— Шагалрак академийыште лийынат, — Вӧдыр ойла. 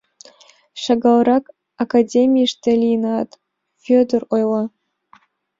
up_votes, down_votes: 2, 0